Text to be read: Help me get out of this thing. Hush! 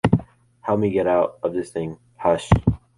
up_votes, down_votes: 2, 0